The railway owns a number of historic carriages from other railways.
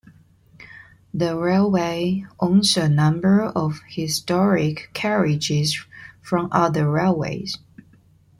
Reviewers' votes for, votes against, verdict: 2, 0, accepted